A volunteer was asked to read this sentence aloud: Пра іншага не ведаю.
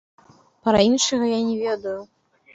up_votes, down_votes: 2, 1